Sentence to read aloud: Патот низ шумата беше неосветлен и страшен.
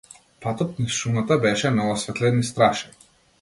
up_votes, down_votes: 2, 0